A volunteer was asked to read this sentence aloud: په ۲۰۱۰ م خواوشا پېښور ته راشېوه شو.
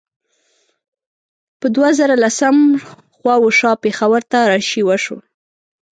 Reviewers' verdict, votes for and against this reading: rejected, 0, 2